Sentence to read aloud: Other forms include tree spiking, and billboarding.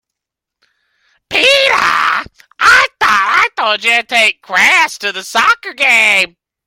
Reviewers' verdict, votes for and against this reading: rejected, 0, 2